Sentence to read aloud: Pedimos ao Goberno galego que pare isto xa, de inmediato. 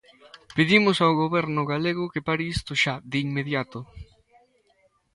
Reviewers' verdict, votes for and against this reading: accepted, 2, 0